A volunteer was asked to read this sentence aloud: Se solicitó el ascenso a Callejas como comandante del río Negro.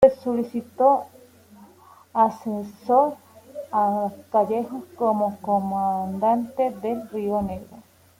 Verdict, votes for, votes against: rejected, 0, 2